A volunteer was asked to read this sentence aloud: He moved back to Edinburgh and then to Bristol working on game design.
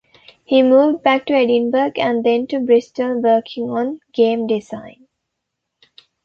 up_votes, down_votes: 2, 0